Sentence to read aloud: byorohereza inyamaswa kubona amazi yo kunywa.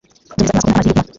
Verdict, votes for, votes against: rejected, 0, 2